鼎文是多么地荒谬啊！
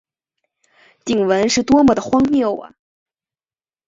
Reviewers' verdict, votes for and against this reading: accepted, 5, 0